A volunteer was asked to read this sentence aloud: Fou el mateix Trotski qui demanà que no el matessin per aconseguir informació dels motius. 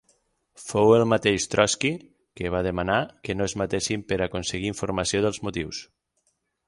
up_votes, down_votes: 3, 6